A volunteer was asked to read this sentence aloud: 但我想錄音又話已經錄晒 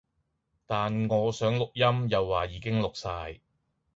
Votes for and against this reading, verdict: 2, 0, accepted